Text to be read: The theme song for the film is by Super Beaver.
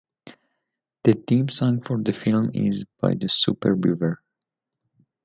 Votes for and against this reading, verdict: 0, 2, rejected